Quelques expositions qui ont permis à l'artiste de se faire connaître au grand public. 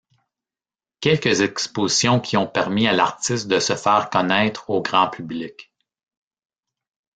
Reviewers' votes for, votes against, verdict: 1, 2, rejected